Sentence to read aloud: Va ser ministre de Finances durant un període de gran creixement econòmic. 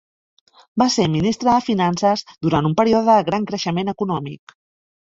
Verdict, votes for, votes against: rejected, 1, 2